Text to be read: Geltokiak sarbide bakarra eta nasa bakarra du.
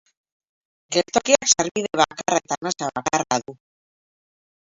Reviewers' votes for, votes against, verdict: 2, 2, rejected